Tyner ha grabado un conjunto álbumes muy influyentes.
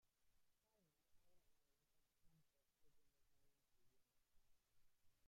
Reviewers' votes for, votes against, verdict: 0, 2, rejected